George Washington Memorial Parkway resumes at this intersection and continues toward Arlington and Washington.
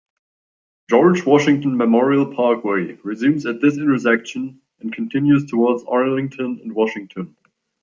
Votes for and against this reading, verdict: 0, 2, rejected